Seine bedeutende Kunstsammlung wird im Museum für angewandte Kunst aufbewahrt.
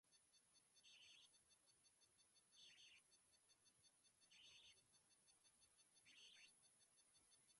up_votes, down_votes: 0, 2